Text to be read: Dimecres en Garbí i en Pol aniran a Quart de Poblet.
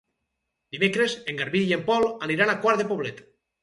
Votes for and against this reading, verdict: 4, 0, accepted